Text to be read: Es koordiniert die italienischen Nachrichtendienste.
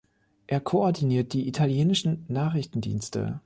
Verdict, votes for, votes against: rejected, 2, 4